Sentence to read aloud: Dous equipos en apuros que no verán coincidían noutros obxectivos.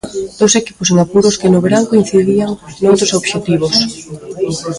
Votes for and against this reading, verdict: 2, 1, accepted